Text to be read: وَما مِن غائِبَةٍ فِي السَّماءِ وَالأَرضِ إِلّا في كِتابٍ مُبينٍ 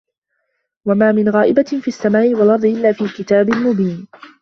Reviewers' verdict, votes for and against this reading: accepted, 2, 0